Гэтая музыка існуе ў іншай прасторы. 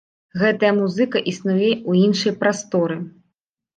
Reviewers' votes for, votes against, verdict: 0, 2, rejected